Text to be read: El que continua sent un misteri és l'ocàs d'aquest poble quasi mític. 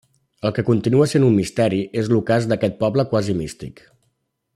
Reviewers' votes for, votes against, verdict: 1, 2, rejected